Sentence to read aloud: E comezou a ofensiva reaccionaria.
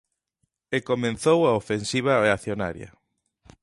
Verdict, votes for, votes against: rejected, 0, 2